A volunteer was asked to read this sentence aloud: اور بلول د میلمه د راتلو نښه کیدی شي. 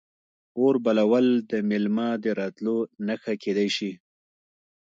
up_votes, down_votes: 2, 0